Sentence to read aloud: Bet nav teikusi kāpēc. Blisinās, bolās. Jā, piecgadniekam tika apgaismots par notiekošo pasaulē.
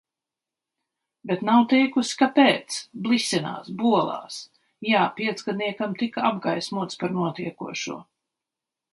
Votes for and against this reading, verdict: 1, 2, rejected